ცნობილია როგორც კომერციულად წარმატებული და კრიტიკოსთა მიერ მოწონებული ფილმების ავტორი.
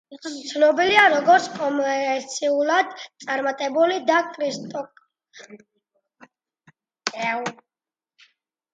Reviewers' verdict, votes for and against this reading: rejected, 0, 2